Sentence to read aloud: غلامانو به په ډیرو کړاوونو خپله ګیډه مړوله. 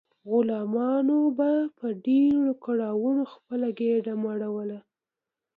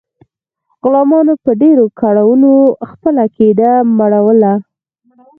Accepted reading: first